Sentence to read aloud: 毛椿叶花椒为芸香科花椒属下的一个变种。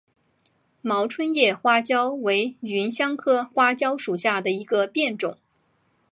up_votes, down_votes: 2, 0